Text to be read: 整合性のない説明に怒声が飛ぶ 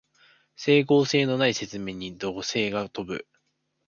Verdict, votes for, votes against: rejected, 1, 2